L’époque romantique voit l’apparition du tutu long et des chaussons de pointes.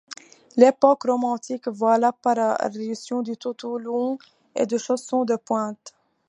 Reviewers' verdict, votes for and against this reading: accepted, 2, 1